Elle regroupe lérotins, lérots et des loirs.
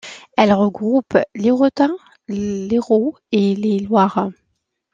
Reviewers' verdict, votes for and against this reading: rejected, 1, 2